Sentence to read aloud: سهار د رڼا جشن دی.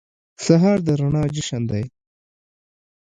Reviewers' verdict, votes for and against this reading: accepted, 2, 0